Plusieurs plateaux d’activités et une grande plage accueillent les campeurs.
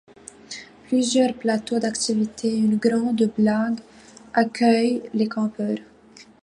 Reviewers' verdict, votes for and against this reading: rejected, 0, 2